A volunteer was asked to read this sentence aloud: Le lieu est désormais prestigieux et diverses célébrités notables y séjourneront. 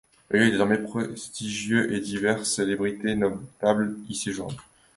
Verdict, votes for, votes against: rejected, 0, 2